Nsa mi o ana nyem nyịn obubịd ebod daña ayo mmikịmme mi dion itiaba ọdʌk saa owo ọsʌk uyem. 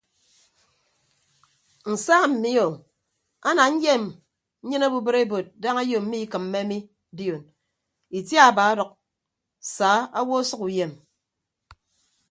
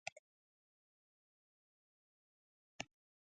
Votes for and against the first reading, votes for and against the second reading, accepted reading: 3, 0, 0, 2, first